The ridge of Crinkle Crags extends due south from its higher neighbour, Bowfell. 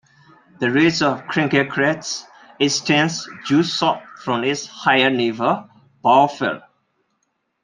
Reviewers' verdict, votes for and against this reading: rejected, 0, 2